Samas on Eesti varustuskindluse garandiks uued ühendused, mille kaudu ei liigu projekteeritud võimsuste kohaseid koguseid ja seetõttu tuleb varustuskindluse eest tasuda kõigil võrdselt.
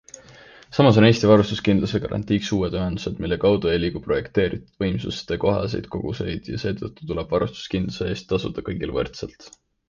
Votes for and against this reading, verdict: 2, 0, accepted